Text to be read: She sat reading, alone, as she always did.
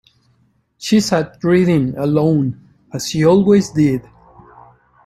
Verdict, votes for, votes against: accepted, 2, 0